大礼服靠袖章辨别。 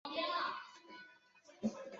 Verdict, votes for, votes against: rejected, 0, 2